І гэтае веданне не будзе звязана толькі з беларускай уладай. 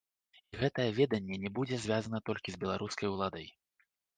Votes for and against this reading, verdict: 2, 0, accepted